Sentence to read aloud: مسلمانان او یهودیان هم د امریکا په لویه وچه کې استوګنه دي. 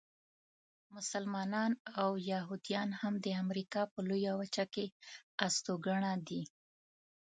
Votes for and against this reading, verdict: 0, 2, rejected